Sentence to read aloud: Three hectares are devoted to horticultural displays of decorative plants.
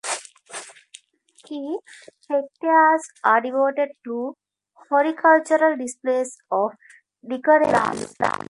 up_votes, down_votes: 0, 2